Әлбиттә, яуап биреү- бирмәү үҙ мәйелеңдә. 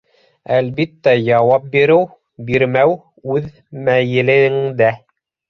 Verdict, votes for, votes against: rejected, 1, 2